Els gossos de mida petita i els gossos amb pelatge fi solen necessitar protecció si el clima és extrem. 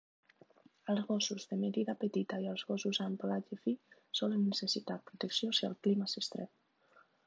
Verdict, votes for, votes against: rejected, 0, 2